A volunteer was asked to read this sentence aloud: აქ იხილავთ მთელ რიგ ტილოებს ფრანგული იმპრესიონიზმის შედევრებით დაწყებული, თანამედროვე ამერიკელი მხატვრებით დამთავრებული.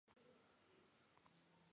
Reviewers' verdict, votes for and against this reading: rejected, 0, 2